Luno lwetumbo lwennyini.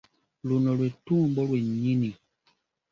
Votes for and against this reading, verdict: 2, 0, accepted